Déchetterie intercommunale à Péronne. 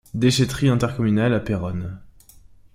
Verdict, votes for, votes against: accepted, 2, 0